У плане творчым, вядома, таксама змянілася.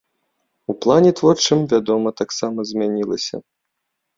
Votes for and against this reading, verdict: 2, 0, accepted